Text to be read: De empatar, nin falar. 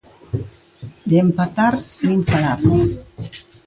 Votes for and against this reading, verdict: 2, 1, accepted